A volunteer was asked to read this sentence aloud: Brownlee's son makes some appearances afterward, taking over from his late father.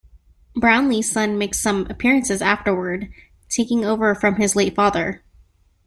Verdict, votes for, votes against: accepted, 2, 0